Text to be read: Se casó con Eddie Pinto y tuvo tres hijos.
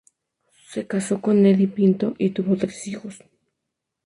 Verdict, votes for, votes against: rejected, 0, 2